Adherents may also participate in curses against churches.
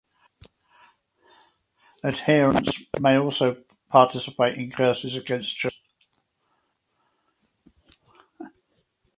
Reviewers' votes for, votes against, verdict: 4, 2, accepted